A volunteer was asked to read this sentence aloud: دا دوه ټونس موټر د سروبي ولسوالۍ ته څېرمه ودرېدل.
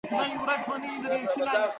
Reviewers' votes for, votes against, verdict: 1, 2, rejected